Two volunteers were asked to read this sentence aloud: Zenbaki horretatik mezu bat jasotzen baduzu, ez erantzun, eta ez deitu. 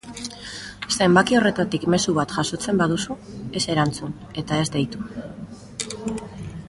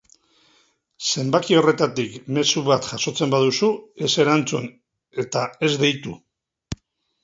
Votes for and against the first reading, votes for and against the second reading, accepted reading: 1, 2, 2, 0, second